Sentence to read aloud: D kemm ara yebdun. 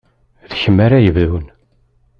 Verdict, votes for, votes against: rejected, 1, 2